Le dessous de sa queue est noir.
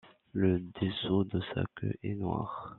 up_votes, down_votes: 2, 0